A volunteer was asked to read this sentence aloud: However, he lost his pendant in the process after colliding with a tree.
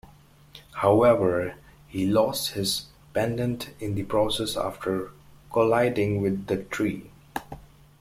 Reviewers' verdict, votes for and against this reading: accepted, 2, 1